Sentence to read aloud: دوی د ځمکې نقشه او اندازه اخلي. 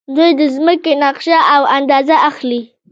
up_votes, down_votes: 1, 2